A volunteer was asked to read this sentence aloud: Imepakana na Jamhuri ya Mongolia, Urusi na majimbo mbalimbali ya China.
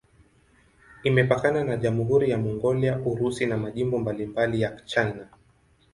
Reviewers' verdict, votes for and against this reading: rejected, 1, 2